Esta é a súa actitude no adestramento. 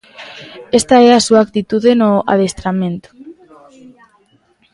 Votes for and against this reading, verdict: 2, 0, accepted